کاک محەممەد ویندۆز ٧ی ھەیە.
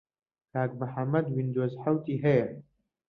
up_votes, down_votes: 0, 2